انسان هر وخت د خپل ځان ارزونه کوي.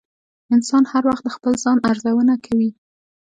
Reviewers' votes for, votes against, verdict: 2, 0, accepted